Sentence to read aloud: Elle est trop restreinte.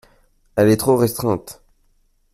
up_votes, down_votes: 2, 0